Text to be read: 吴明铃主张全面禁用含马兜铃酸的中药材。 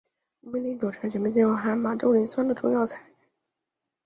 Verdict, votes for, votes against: rejected, 0, 3